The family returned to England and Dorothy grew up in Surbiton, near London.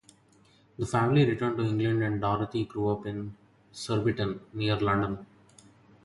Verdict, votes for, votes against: rejected, 2, 2